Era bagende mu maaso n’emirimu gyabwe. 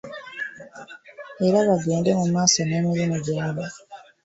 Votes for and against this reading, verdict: 2, 0, accepted